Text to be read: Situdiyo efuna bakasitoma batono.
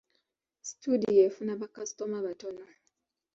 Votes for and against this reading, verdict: 2, 0, accepted